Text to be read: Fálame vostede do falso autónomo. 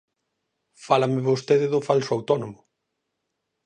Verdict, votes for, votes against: accepted, 4, 0